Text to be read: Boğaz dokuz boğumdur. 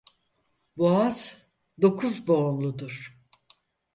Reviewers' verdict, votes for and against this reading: rejected, 0, 4